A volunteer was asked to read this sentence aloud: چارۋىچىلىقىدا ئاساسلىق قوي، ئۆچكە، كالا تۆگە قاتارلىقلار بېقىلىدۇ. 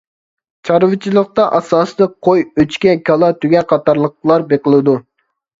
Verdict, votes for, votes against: rejected, 1, 2